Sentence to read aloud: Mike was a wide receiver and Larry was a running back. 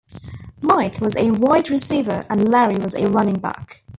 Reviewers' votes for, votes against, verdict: 0, 2, rejected